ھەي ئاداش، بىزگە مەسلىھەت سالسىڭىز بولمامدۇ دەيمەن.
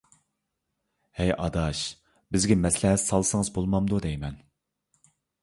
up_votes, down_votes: 3, 0